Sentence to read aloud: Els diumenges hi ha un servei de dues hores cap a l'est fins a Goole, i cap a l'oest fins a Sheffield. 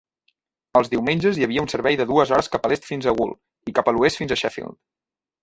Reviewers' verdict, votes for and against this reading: rejected, 0, 2